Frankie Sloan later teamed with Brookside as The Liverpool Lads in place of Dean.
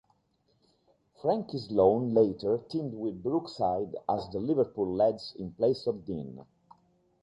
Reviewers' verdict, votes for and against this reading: rejected, 1, 2